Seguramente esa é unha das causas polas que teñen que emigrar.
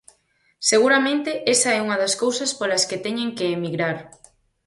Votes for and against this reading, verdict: 2, 4, rejected